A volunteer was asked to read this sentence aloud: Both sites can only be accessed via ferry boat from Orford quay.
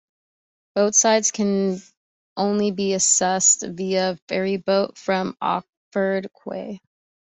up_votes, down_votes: 2, 1